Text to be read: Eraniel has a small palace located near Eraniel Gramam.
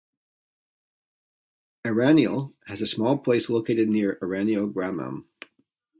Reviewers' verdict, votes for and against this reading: accepted, 2, 0